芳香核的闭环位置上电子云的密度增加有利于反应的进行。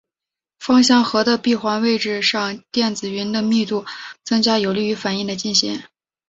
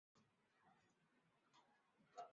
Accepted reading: first